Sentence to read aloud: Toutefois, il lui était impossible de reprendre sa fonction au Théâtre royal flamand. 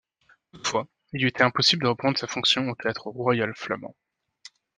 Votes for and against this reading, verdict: 1, 2, rejected